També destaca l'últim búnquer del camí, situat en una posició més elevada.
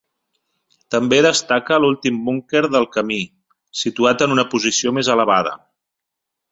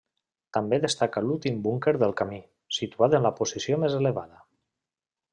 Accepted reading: first